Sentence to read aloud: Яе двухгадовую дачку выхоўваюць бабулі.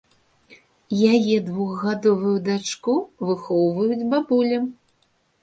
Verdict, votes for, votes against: rejected, 1, 2